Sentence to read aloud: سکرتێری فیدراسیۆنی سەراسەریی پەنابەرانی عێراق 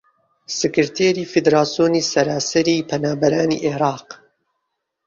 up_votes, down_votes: 2, 1